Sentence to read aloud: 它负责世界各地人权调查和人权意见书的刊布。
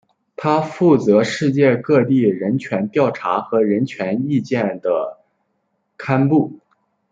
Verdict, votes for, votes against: rejected, 0, 2